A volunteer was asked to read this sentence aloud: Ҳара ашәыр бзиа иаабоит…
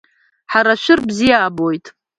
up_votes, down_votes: 2, 1